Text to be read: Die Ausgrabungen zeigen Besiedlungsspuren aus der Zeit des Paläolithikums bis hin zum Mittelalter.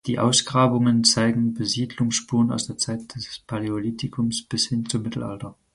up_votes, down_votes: 4, 0